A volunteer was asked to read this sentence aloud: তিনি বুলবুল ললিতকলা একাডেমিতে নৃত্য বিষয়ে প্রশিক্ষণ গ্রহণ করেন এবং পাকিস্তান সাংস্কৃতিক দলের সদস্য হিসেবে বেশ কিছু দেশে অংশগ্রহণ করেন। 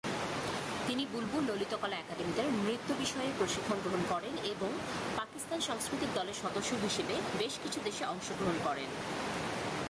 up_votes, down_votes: 5, 1